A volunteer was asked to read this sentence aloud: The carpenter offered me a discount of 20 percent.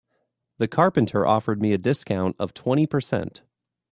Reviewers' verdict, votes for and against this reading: rejected, 0, 2